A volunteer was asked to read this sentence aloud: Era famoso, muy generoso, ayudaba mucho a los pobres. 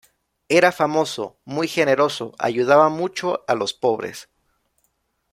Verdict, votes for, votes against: accepted, 2, 0